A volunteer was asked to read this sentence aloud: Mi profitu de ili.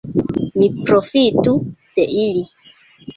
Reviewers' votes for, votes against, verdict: 2, 0, accepted